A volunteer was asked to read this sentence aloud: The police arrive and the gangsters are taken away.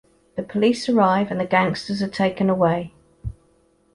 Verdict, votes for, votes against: accepted, 2, 0